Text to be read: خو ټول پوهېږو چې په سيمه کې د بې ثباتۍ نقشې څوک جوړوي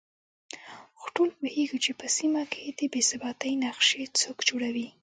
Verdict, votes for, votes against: accepted, 2, 1